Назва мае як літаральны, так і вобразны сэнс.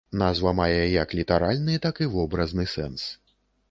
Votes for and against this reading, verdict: 2, 0, accepted